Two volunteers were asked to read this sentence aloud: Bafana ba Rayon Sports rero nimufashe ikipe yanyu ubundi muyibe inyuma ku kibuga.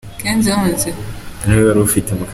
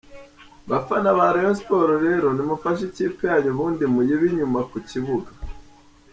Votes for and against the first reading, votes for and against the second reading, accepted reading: 0, 3, 2, 0, second